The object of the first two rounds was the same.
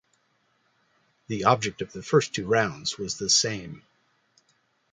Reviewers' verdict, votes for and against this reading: accepted, 2, 0